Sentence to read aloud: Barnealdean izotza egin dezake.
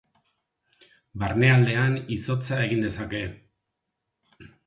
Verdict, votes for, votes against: accepted, 6, 0